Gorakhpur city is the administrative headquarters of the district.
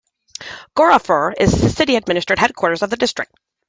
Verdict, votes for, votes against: rejected, 0, 2